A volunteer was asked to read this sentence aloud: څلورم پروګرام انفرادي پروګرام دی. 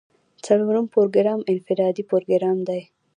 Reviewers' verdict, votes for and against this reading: accepted, 2, 0